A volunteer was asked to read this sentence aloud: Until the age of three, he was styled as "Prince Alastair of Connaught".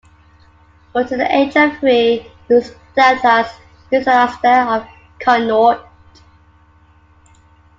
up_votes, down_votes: 0, 2